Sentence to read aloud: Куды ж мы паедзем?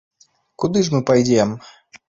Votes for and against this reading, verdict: 0, 2, rejected